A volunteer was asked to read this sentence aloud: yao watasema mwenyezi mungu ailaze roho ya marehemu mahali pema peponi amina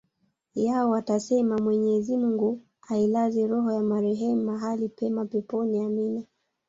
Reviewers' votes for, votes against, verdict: 2, 0, accepted